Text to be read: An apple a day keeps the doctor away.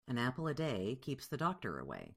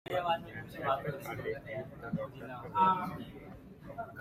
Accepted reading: first